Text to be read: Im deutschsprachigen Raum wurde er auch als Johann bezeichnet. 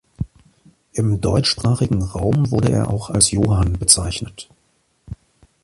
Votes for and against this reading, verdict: 2, 0, accepted